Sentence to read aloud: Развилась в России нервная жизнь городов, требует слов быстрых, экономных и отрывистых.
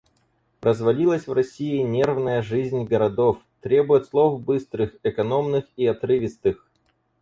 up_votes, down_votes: 0, 4